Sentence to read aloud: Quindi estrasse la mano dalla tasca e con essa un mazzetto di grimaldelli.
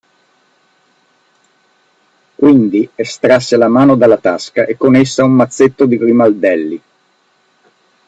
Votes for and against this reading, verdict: 2, 0, accepted